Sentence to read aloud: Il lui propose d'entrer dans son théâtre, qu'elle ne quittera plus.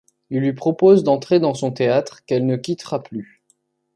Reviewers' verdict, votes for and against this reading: accepted, 2, 0